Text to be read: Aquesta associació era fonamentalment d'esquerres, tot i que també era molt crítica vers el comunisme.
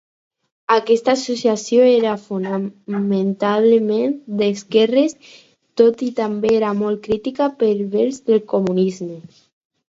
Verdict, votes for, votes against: rejected, 2, 4